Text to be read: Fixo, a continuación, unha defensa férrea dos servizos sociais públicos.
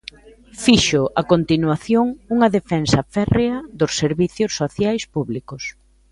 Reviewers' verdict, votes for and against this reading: accepted, 3, 0